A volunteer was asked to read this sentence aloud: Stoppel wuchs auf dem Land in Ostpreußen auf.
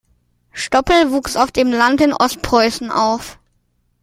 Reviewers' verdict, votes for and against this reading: accepted, 2, 0